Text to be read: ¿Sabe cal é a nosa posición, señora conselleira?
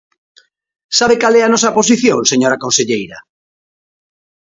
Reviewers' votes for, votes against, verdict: 2, 0, accepted